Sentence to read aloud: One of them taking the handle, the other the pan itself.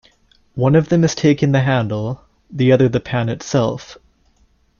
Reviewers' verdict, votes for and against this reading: rejected, 0, 2